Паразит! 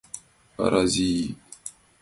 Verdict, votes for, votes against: accepted, 2, 0